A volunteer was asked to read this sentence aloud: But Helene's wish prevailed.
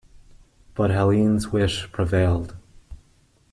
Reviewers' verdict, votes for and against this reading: accepted, 2, 0